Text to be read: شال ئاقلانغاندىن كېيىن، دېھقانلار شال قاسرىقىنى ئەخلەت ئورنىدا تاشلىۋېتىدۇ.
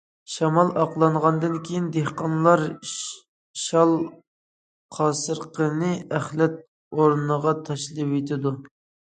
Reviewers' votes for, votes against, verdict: 0, 2, rejected